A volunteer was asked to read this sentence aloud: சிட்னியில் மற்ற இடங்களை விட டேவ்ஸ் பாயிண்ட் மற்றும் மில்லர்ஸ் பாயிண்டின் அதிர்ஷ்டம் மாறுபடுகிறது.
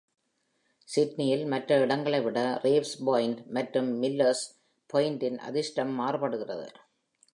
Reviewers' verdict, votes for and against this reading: accepted, 2, 0